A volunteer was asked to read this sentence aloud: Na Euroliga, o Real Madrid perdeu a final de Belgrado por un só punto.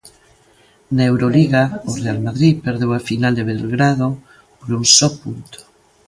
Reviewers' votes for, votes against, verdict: 2, 1, accepted